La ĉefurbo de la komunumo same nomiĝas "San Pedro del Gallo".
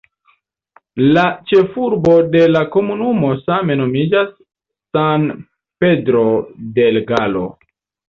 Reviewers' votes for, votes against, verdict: 2, 1, accepted